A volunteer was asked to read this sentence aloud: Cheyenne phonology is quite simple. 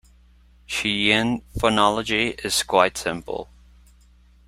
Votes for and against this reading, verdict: 2, 1, accepted